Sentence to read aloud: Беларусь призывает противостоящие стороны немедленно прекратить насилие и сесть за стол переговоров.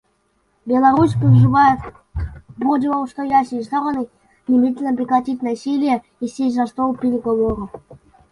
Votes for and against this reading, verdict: 1, 2, rejected